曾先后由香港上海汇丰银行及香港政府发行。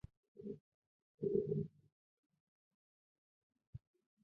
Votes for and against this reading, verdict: 0, 2, rejected